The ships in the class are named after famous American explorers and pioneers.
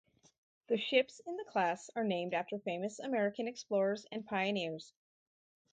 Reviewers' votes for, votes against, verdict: 2, 2, rejected